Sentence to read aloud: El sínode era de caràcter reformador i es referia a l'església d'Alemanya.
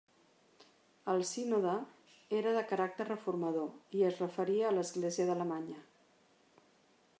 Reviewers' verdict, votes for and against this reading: accepted, 3, 0